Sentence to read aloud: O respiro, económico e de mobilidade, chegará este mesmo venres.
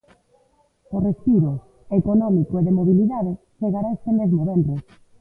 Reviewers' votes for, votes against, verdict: 2, 0, accepted